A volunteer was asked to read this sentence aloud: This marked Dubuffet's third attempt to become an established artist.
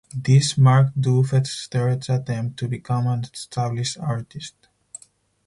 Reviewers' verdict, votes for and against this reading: rejected, 0, 4